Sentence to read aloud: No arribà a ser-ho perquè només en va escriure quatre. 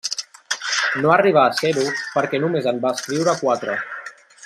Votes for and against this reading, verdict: 3, 0, accepted